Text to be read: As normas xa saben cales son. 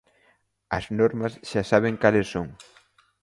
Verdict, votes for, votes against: accepted, 2, 0